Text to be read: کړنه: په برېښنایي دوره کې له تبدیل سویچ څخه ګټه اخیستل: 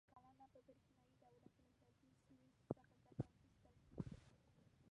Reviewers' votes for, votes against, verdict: 0, 2, rejected